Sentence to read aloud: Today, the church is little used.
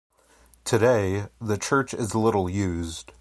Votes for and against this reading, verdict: 2, 0, accepted